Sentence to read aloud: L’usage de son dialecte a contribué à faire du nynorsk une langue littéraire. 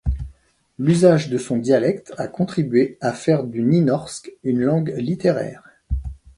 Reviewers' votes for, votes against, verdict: 2, 0, accepted